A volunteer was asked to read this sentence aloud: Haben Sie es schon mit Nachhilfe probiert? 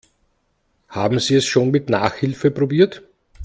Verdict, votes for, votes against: accepted, 2, 0